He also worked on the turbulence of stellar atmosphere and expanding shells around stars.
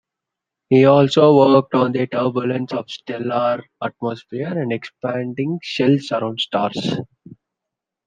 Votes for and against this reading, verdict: 2, 0, accepted